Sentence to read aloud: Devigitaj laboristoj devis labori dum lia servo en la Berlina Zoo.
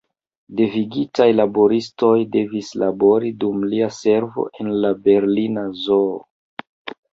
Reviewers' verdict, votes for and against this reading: accepted, 2, 0